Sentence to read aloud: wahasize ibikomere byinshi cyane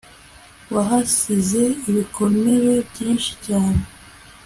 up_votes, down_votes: 2, 0